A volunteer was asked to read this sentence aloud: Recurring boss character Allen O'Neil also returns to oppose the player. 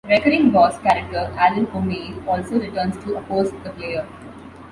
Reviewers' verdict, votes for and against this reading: accepted, 2, 0